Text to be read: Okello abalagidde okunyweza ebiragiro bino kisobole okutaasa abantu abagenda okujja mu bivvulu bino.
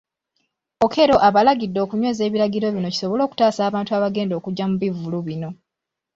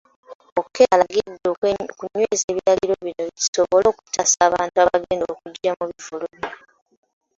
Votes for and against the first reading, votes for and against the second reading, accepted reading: 2, 0, 0, 2, first